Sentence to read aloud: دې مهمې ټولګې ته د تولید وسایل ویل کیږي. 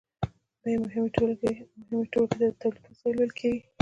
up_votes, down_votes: 2, 0